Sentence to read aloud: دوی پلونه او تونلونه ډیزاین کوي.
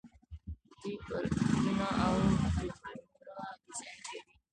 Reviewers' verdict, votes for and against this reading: rejected, 0, 2